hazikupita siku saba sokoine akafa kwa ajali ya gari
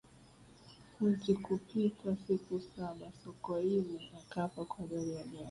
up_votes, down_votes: 3, 1